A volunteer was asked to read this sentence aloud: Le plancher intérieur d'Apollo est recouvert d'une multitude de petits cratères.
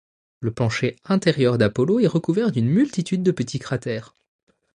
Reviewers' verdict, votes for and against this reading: rejected, 1, 2